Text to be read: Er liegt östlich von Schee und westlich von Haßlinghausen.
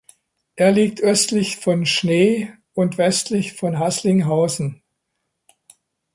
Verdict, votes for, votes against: rejected, 0, 2